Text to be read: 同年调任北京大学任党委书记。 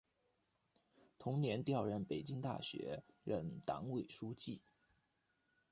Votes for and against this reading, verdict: 2, 0, accepted